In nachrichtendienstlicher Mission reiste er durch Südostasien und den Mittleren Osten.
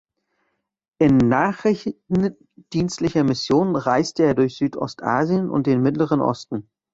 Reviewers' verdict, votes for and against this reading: rejected, 1, 2